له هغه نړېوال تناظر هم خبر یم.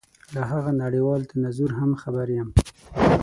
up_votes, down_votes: 6, 3